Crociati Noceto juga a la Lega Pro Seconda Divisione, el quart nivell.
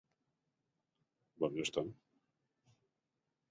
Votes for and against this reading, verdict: 0, 2, rejected